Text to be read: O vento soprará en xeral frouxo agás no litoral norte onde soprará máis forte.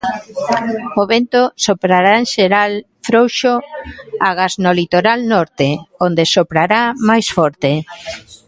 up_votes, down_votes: 2, 1